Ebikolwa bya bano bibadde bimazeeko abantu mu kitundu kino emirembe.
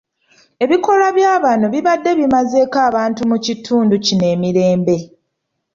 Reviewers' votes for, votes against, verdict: 2, 0, accepted